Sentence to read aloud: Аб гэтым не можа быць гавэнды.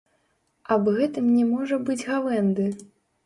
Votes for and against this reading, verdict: 1, 2, rejected